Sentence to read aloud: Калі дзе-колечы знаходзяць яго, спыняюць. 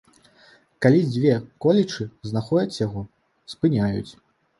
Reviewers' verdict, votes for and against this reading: rejected, 1, 2